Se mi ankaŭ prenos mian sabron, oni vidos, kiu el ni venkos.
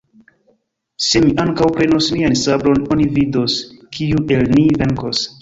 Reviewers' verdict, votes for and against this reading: rejected, 1, 2